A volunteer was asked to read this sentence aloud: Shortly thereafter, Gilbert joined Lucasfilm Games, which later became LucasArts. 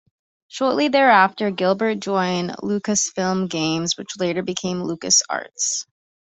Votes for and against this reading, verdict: 3, 1, accepted